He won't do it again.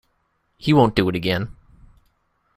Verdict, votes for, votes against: accepted, 2, 0